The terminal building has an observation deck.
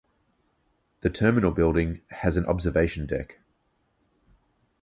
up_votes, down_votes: 4, 0